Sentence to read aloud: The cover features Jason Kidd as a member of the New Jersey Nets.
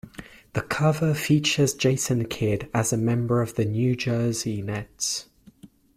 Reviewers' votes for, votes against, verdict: 2, 0, accepted